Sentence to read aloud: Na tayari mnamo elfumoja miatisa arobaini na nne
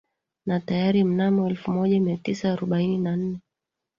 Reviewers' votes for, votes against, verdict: 2, 1, accepted